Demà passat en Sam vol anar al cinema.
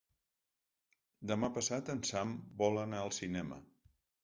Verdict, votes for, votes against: accepted, 3, 0